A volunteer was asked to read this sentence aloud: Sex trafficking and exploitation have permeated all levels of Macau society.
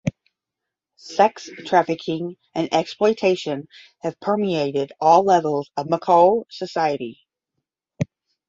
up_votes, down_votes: 5, 5